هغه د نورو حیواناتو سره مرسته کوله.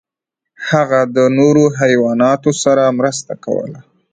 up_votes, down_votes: 1, 2